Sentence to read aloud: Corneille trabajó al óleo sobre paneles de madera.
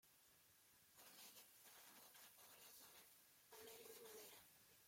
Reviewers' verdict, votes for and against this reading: rejected, 0, 2